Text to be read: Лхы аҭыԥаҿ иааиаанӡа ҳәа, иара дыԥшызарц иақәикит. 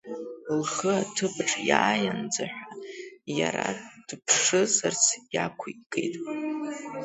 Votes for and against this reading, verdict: 2, 1, accepted